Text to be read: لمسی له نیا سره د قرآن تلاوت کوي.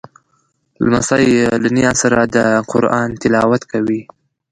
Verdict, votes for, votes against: rejected, 1, 2